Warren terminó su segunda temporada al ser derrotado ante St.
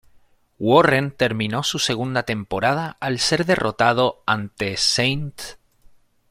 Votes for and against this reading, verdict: 2, 0, accepted